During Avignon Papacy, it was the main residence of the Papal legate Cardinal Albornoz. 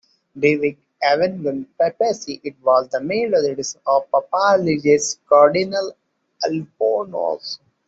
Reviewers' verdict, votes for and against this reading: accepted, 2, 1